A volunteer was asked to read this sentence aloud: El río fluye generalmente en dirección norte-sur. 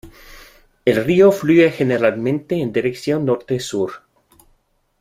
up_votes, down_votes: 2, 0